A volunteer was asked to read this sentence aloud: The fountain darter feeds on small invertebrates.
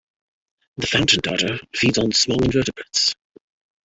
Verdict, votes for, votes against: rejected, 0, 2